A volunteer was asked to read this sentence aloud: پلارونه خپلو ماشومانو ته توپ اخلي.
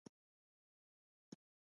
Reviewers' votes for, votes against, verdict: 0, 2, rejected